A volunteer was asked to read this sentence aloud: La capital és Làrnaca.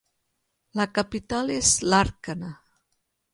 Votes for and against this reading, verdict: 1, 2, rejected